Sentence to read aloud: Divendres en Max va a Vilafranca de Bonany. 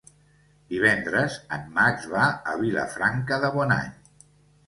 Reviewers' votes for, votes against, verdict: 2, 0, accepted